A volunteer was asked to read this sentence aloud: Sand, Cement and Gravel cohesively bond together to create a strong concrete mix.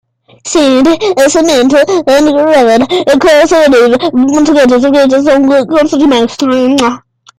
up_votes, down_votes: 0, 2